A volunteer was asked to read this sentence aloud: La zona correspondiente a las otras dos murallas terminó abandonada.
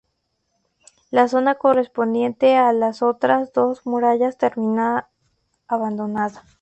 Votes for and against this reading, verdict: 0, 2, rejected